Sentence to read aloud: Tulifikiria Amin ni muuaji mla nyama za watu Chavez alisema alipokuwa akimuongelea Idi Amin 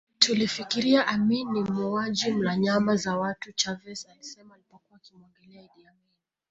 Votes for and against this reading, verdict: 0, 2, rejected